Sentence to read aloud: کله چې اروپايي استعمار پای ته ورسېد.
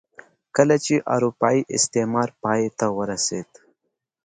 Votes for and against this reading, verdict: 2, 0, accepted